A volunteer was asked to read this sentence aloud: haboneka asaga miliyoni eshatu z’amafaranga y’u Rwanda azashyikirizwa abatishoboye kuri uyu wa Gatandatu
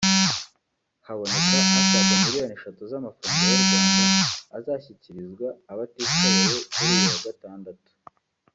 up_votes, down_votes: 1, 2